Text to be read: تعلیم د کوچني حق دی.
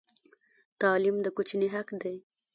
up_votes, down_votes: 1, 2